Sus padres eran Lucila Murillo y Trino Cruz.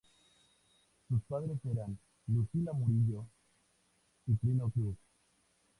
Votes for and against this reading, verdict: 2, 0, accepted